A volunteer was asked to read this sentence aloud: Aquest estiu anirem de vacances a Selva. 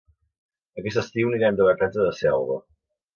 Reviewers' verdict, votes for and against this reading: rejected, 1, 2